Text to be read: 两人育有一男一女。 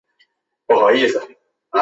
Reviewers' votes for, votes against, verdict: 0, 2, rejected